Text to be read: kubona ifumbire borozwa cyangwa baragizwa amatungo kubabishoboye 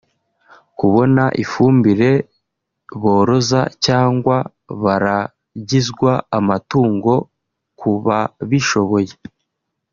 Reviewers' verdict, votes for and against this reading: rejected, 0, 2